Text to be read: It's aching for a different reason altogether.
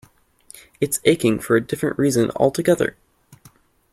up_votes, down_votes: 2, 0